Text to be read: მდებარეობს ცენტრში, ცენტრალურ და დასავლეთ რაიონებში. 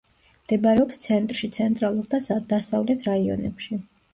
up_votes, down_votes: 1, 2